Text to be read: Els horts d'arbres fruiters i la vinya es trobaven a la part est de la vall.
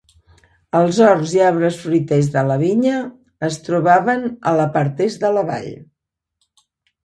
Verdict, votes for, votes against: rejected, 0, 2